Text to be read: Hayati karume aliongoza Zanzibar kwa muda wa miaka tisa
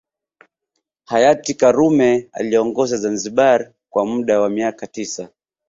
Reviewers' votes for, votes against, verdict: 2, 0, accepted